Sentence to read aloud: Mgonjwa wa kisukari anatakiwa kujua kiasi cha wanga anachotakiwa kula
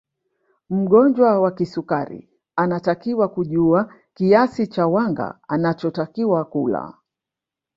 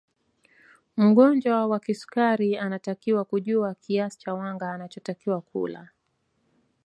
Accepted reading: second